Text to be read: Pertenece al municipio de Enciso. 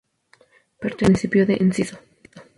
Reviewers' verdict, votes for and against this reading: rejected, 0, 2